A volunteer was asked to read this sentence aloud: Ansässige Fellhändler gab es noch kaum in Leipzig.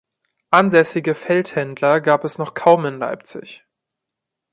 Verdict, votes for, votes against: rejected, 1, 2